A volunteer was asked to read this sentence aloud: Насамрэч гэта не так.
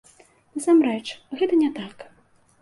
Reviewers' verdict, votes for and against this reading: accepted, 2, 0